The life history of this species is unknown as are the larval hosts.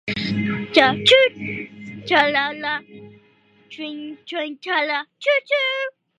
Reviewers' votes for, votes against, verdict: 0, 2, rejected